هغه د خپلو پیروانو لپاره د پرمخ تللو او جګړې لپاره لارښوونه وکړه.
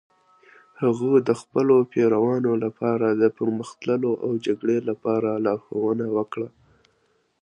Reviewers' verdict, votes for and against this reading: accepted, 3, 0